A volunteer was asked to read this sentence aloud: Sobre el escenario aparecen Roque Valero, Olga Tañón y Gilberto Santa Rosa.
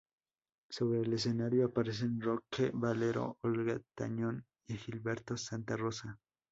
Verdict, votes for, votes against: rejected, 0, 2